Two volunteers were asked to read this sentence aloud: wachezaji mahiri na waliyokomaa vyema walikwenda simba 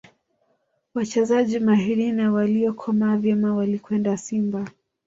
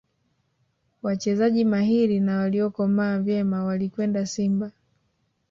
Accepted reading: second